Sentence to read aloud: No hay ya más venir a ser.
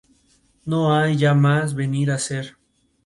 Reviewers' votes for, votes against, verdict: 2, 0, accepted